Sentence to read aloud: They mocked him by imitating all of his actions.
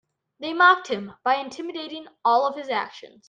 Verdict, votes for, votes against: rejected, 1, 2